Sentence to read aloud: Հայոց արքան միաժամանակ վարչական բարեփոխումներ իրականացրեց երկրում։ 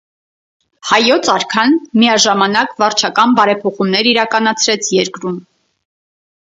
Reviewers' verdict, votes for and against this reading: accepted, 4, 0